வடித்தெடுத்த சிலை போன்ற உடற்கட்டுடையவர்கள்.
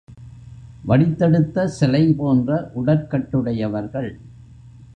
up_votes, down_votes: 2, 0